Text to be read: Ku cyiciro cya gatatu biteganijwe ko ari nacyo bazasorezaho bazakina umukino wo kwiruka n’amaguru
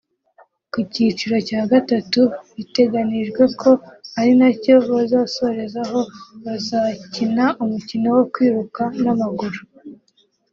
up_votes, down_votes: 2, 0